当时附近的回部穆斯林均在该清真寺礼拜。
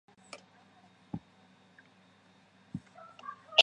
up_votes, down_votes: 0, 2